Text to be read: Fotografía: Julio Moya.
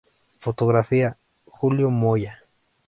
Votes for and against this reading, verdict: 2, 0, accepted